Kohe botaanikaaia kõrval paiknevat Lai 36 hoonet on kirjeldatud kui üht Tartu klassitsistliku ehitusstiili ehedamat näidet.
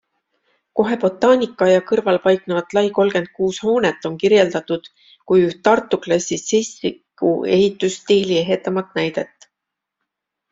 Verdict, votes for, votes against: rejected, 0, 2